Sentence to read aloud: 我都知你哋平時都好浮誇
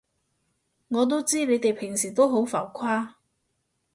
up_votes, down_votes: 2, 0